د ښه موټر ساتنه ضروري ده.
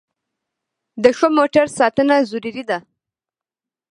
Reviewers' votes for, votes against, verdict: 2, 1, accepted